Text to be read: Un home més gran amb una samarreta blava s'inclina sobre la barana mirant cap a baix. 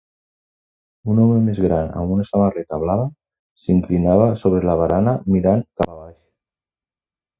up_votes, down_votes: 0, 2